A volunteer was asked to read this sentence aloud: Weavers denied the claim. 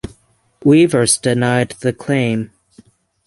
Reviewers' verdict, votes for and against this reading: rejected, 3, 3